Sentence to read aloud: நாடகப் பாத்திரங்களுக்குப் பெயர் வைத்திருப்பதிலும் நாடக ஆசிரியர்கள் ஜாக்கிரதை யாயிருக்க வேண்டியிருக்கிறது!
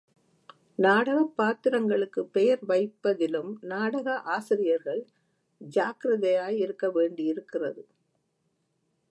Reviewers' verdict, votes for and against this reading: rejected, 1, 2